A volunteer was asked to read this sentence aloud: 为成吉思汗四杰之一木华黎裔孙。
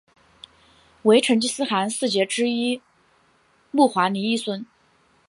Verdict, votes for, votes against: accepted, 6, 0